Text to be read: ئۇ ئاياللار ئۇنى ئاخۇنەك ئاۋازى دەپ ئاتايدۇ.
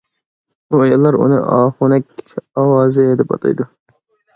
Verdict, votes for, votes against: accepted, 2, 0